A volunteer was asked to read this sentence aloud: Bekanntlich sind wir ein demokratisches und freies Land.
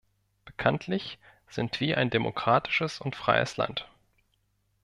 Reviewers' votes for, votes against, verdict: 2, 0, accepted